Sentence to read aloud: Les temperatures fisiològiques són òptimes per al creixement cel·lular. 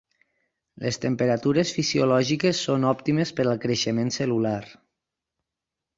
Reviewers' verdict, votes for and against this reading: accepted, 4, 0